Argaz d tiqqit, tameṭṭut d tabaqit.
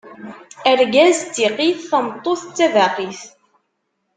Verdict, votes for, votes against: accepted, 2, 0